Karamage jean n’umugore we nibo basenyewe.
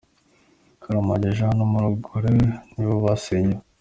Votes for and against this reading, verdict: 0, 2, rejected